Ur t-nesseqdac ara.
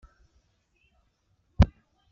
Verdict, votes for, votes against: rejected, 0, 2